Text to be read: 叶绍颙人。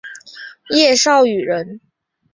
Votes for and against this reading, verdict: 3, 0, accepted